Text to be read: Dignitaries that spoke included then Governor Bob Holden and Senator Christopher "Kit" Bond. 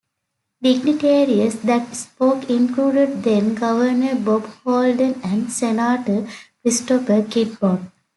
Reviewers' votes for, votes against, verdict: 1, 2, rejected